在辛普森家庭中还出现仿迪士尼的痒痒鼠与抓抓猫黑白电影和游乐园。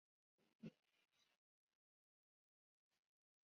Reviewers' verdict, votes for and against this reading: rejected, 0, 2